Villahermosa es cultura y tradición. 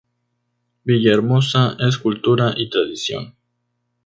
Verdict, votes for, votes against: accepted, 2, 0